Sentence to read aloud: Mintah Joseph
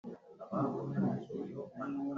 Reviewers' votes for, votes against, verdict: 0, 3, rejected